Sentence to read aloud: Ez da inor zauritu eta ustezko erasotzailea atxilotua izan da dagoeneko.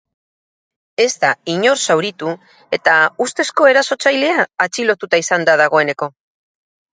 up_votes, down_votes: 0, 6